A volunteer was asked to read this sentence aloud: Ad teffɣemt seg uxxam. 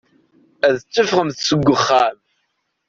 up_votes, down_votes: 2, 0